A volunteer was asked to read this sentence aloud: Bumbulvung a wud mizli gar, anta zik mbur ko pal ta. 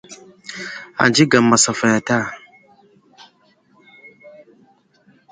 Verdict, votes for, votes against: rejected, 0, 2